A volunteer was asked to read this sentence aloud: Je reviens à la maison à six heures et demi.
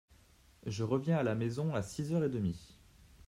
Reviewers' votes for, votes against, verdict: 2, 0, accepted